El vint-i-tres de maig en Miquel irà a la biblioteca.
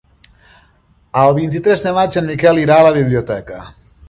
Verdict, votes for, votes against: accepted, 4, 0